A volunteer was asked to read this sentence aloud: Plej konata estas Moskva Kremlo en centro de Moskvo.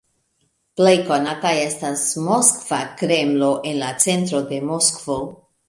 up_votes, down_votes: 1, 2